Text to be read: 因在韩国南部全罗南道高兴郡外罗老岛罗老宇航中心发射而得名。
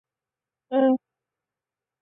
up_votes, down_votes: 1, 5